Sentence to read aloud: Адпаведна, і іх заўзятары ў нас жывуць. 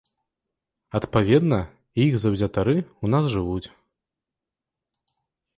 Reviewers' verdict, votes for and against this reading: rejected, 1, 2